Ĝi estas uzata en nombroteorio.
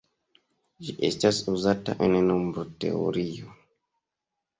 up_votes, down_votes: 2, 0